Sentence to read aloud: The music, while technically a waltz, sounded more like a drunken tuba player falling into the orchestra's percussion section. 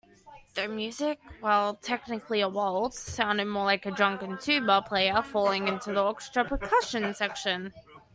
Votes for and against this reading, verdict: 2, 1, accepted